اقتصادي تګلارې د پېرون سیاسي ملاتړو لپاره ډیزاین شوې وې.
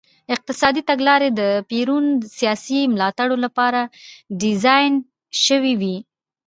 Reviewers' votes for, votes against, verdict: 2, 0, accepted